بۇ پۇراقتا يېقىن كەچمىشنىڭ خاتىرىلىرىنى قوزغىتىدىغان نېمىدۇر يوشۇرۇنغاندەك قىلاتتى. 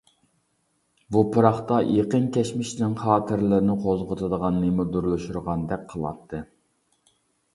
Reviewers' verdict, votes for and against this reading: rejected, 0, 2